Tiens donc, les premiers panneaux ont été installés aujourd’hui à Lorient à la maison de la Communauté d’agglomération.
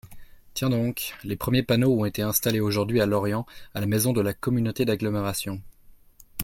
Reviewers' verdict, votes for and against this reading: accepted, 2, 0